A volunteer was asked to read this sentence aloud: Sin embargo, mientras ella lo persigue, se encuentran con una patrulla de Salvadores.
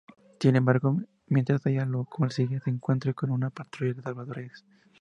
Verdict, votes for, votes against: accepted, 2, 0